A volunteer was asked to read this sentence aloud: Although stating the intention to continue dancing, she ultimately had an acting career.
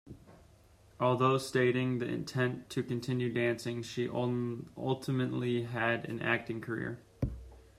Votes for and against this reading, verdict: 2, 1, accepted